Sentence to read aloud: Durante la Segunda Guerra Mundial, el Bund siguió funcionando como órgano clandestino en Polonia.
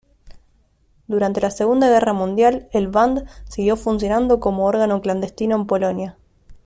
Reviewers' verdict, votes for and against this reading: accepted, 2, 1